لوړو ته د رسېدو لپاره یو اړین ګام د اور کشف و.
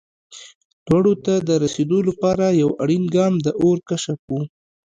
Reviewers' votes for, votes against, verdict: 2, 0, accepted